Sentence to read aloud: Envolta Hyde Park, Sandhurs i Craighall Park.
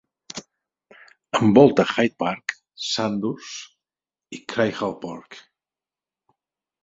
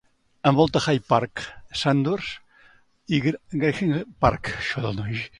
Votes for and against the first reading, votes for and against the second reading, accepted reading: 4, 0, 0, 2, first